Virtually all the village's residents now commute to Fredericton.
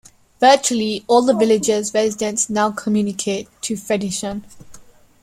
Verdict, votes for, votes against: rejected, 1, 2